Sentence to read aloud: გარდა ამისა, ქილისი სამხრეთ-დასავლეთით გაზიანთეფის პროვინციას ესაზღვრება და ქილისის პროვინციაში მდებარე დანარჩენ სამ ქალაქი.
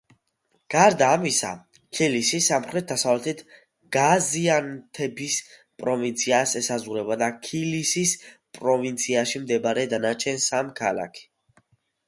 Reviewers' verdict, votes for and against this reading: accepted, 2, 0